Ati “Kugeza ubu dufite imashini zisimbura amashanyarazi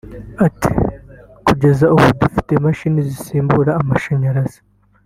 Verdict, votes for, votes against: accepted, 2, 0